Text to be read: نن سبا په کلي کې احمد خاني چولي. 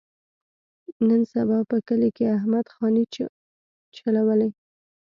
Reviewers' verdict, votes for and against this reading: rejected, 1, 2